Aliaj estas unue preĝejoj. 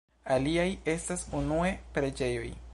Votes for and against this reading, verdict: 0, 2, rejected